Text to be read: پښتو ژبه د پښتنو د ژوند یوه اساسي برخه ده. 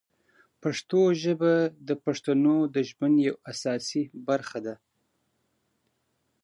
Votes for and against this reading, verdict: 2, 0, accepted